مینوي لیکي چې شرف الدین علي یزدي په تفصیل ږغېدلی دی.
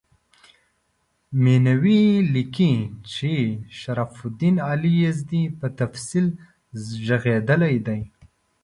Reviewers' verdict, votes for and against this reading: accepted, 2, 0